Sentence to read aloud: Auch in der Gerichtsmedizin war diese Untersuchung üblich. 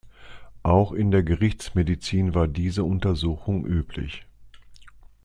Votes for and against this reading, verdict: 2, 0, accepted